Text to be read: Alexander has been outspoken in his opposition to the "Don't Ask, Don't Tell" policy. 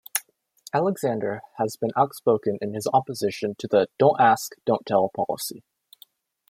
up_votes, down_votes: 2, 0